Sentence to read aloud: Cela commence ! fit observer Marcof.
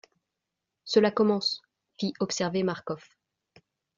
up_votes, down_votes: 2, 0